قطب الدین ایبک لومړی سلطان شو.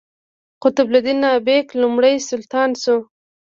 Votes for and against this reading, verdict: 1, 2, rejected